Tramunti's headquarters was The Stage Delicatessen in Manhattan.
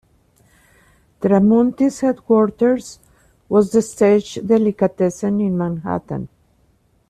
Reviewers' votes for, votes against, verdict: 2, 0, accepted